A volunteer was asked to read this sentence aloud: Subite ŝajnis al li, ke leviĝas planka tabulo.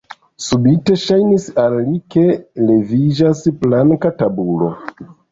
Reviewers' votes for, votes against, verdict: 2, 0, accepted